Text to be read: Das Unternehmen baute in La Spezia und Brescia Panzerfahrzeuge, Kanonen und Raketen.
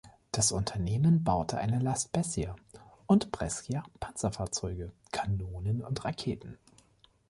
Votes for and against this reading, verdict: 1, 2, rejected